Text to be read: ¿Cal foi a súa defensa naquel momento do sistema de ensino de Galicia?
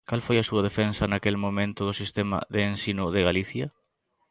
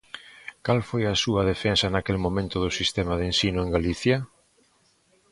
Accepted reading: first